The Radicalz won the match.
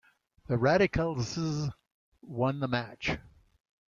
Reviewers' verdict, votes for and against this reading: rejected, 0, 2